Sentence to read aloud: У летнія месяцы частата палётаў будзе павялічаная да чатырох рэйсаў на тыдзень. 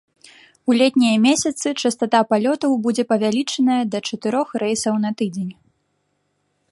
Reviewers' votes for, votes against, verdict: 2, 0, accepted